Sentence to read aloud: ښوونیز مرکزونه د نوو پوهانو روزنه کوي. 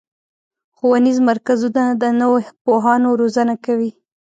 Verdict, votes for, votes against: rejected, 1, 2